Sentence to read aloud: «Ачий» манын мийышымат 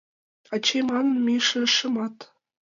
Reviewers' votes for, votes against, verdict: 1, 2, rejected